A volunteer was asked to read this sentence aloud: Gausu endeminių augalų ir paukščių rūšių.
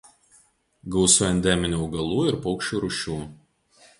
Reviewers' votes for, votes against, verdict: 2, 0, accepted